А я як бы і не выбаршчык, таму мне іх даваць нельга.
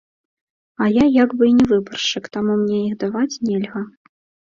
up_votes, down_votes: 2, 0